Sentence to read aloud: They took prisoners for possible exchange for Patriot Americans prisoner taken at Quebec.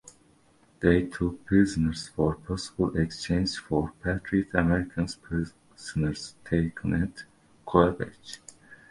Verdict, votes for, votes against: rejected, 0, 2